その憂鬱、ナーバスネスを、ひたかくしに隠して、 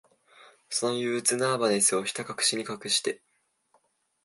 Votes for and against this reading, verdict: 3, 2, accepted